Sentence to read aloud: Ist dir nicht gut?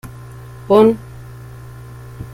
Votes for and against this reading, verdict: 0, 2, rejected